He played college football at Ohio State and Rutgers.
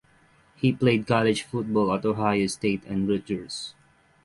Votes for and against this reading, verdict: 3, 3, rejected